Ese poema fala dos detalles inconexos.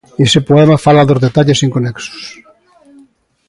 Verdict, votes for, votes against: rejected, 1, 2